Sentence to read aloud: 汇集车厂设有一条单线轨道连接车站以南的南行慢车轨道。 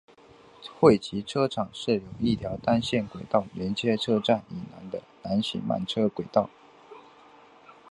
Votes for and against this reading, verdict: 3, 1, accepted